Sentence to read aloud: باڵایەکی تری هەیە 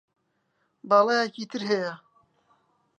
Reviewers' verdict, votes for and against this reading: rejected, 0, 2